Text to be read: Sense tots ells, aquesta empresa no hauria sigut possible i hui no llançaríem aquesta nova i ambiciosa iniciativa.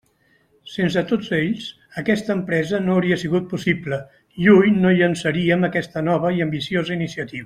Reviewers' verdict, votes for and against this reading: rejected, 1, 2